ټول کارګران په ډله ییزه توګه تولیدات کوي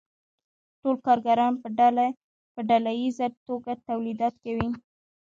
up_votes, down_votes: 1, 2